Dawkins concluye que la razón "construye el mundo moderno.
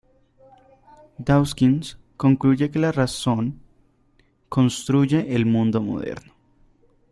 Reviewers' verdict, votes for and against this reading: accepted, 2, 0